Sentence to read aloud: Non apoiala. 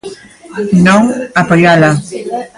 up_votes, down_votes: 2, 0